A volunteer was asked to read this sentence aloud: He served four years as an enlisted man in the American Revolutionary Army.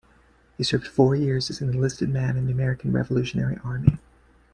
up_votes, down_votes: 2, 0